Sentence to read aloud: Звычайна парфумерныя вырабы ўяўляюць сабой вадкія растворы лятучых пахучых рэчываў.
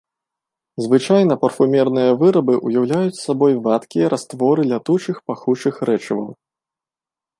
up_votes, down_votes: 2, 0